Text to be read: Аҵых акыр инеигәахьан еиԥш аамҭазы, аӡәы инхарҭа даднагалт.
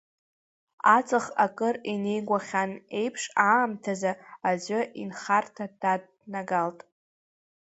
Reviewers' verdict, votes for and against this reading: rejected, 1, 2